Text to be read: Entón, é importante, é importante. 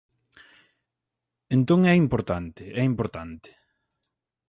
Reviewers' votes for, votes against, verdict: 4, 0, accepted